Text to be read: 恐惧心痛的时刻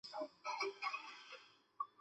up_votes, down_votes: 0, 5